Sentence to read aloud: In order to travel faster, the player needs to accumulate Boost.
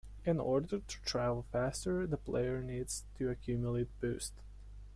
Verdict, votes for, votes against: accepted, 2, 0